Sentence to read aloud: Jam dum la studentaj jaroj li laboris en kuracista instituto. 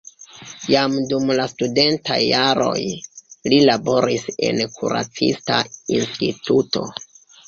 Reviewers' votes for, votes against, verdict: 2, 1, accepted